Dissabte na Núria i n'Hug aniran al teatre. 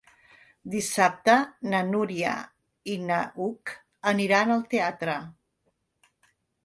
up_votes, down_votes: 0, 2